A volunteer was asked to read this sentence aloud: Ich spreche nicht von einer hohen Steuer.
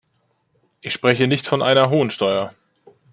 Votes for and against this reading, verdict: 2, 1, accepted